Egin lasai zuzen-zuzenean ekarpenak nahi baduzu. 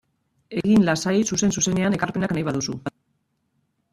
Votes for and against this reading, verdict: 1, 2, rejected